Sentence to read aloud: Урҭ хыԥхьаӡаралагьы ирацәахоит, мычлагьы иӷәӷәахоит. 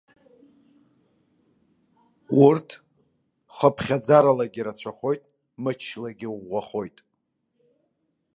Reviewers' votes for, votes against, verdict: 2, 1, accepted